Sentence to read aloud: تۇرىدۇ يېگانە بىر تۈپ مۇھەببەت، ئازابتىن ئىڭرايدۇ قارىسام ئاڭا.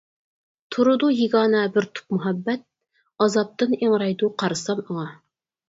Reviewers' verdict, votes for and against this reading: accepted, 4, 0